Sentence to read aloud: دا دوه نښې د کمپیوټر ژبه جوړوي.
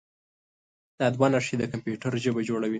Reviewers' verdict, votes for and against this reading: accepted, 2, 0